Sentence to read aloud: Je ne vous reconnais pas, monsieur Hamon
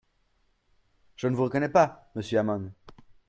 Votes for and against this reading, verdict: 0, 2, rejected